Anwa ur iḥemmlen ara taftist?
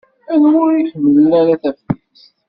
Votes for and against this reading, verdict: 1, 2, rejected